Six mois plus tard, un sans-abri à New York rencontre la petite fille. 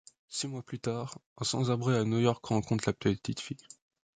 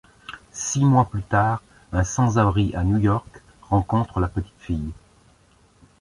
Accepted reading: second